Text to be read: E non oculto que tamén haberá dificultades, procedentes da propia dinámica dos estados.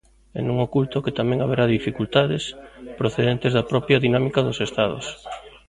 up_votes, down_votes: 1, 2